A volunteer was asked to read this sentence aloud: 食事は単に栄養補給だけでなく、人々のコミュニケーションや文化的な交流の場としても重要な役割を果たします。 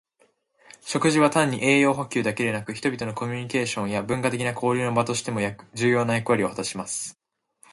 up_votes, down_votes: 2, 0